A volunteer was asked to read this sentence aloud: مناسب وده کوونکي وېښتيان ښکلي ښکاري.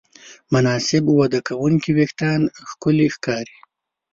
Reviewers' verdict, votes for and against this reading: accepted, 2, 0